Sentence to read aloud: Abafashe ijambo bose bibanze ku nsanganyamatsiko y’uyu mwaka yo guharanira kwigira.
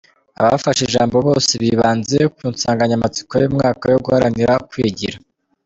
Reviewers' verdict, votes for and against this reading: rejected, 1, 2